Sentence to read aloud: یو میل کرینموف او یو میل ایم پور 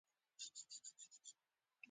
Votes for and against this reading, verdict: 1, 2, rejected